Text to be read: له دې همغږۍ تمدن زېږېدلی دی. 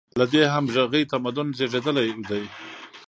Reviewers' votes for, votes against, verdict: 1, 2, rejected